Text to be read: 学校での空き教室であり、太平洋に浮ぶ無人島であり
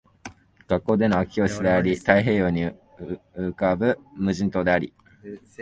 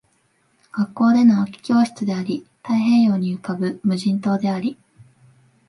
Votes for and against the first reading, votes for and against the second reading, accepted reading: 1, 3, 2, 0, second